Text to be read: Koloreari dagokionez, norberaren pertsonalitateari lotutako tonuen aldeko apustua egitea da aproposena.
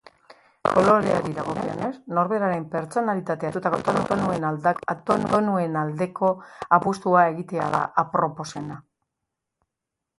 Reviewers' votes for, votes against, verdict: 0, 2, rejected